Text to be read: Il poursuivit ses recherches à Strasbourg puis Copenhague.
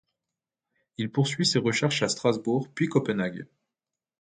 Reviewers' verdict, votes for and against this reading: rejected, 1, 2